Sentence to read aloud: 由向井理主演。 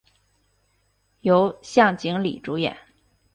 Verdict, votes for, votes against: accepted, 2, 0